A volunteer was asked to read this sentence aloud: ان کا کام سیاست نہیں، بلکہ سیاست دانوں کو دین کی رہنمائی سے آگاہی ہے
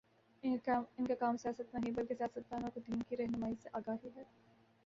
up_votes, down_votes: 1, 2